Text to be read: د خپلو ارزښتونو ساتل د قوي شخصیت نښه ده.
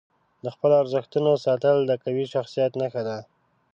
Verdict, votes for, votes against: accepted, 4, 0